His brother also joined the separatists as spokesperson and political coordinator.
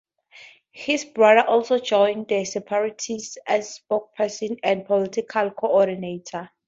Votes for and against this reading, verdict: 2, 0, accepted